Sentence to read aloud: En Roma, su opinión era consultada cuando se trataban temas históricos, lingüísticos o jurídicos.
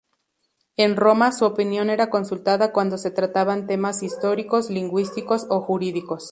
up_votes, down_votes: 2, 2